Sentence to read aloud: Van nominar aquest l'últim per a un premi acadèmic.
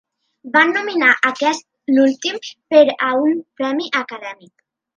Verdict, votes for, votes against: rejected, 1, 2